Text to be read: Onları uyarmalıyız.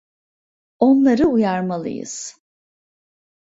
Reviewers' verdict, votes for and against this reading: accepted, 2, 1